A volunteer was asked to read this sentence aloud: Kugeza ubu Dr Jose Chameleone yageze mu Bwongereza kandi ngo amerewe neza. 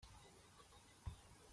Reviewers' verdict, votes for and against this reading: rejected, 0, 2